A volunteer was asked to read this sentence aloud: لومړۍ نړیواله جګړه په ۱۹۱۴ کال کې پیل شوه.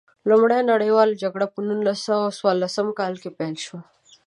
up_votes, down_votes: 0, 2